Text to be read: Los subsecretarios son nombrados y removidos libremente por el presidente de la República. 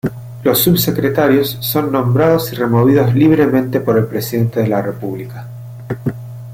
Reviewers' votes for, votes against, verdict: 2, 0, accepted